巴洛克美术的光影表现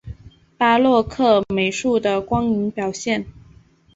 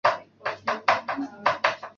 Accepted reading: first